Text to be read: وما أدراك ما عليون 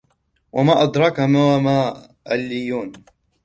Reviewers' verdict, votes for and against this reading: rejected, 0, 2